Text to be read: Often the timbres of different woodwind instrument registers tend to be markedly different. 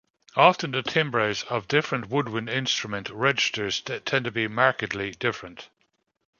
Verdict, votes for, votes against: accepted, 2, 1